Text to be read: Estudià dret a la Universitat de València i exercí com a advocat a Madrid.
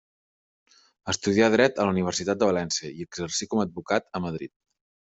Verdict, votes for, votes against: accepted, 3, 0